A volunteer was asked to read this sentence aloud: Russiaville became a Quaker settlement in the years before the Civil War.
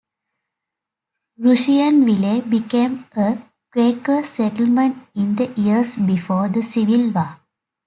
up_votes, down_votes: 0, 2